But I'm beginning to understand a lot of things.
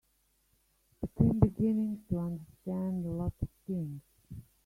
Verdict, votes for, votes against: rejected, 1, 2